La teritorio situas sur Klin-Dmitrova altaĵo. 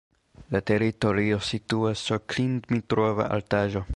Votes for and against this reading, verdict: 2, 0, accepted